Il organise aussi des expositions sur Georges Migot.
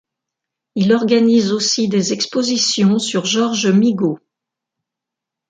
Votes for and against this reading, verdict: 2, 0, accepted